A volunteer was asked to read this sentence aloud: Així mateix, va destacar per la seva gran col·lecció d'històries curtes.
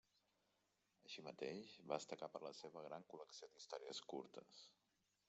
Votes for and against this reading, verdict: 0, 2, rejected